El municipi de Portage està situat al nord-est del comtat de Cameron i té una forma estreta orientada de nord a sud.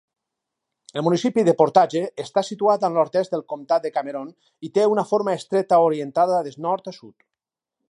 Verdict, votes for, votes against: rejected, 0, 2